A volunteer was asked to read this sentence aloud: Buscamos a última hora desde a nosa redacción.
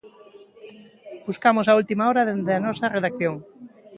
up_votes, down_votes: 0, 2